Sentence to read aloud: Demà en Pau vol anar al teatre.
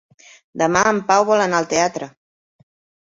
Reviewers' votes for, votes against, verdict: 3, 0, accepted